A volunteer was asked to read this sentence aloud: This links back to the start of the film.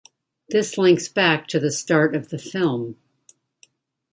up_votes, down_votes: 2, 0